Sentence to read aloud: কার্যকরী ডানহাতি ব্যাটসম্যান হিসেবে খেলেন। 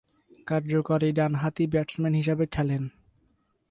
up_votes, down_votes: 2, 0